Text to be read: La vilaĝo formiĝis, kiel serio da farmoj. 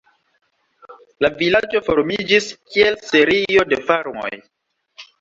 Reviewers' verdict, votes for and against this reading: rejected, 1, 2